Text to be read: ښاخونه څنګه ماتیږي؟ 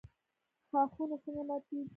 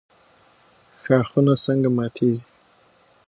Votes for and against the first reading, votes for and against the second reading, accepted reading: 1, 2, 6, 0, second